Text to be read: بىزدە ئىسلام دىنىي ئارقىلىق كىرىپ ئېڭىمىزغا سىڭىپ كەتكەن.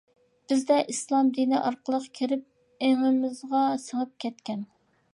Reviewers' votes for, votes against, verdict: 2, 0, accepted